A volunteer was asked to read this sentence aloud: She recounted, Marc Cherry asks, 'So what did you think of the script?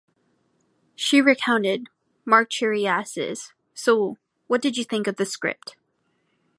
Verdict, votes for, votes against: rejected, 1, 2